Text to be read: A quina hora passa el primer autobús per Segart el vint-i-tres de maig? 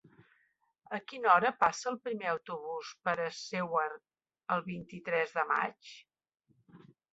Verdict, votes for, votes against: rejected, 1, 3